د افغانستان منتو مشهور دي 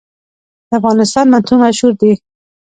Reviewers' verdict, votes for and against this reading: rejected, 1, 2